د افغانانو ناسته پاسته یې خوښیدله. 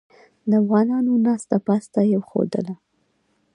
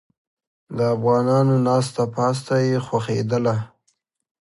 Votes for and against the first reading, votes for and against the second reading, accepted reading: 2, 1, 1, 2, first